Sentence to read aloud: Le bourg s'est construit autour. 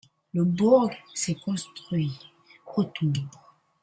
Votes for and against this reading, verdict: 1, 2, rejected